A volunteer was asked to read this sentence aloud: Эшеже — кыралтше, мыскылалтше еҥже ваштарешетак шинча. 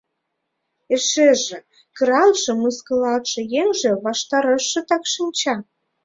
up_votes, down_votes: 0, 2